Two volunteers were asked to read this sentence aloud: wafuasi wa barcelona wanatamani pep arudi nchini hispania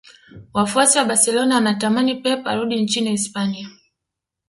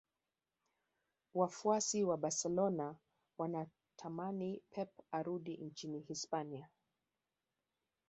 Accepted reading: second